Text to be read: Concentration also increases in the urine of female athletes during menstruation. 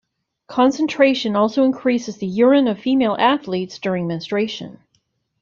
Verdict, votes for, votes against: rejected, 0, 3